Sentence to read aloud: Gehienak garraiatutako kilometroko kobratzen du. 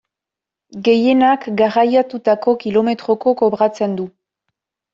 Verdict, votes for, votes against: accepted, 2, 0